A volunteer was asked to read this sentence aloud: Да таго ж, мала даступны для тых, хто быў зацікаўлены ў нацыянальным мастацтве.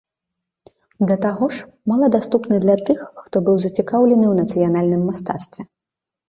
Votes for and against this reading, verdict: 2, 0, accepted